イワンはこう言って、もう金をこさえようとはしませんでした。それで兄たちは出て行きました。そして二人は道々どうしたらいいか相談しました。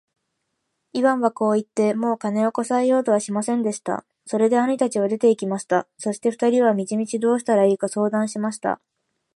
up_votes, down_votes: 2, 0